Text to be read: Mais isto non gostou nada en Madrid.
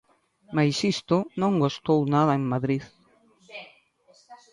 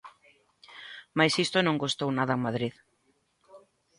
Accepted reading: second